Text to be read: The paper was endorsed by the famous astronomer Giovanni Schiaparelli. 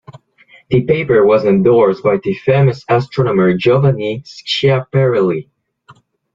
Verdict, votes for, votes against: rejected, 0, 2